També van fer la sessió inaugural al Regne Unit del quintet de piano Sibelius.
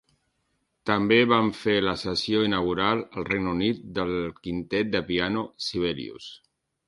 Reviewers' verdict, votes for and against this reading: accepted, 3, 0